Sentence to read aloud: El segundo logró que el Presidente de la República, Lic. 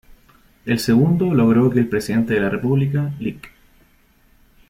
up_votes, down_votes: 2, 0